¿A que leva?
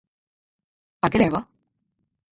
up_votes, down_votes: 0, 4